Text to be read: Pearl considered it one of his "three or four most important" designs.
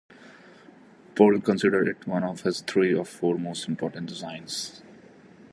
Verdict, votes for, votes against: accepted, 2, 0